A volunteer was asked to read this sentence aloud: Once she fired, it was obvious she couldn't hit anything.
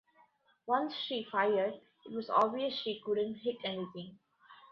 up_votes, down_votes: 1, 2